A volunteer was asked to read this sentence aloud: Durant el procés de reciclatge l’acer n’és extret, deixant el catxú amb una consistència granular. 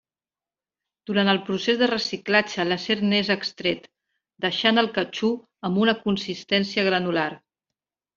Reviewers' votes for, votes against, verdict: 2, 0, accepted